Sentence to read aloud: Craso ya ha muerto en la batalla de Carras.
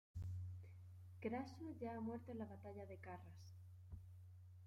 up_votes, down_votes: 1, 2